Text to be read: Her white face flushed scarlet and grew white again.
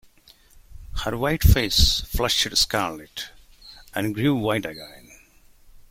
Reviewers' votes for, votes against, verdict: 0, 2, rejected